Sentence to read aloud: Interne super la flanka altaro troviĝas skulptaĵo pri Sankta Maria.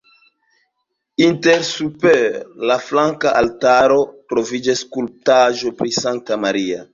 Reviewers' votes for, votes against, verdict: 2, 0, accepted